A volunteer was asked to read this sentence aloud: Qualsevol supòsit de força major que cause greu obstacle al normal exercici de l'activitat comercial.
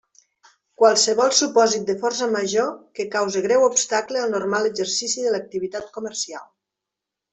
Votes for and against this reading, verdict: 2, 0, accepted